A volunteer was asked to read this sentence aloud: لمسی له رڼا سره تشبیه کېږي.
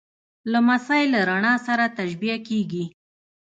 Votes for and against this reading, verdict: 2, 0, accepted